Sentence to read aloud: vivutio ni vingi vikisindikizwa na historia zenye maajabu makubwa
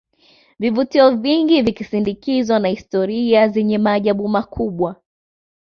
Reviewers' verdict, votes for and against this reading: rejected, 1, 2